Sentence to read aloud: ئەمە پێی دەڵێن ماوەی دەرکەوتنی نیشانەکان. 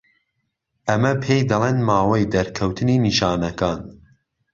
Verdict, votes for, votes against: accepted, 2, 0